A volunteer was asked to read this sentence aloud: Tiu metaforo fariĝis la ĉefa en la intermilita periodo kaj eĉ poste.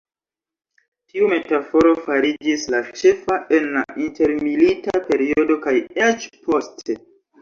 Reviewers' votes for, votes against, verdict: 2, 0, accepted